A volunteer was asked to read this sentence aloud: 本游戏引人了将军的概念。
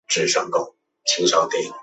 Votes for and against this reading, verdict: 0, 3, rejected